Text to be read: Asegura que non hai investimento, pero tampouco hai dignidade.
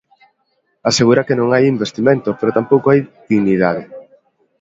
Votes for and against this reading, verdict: 2, 0, accepted